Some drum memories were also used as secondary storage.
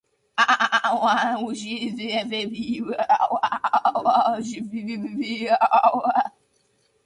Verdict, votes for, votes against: rejected, 0, 2